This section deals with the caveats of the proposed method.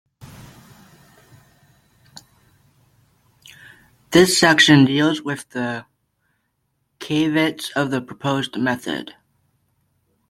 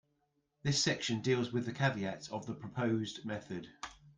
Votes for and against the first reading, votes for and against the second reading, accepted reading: 1, 2, 2, 0, second